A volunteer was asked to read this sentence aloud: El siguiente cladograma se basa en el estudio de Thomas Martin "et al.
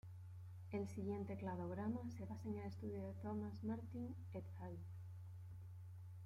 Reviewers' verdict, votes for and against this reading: rejected, 0, 2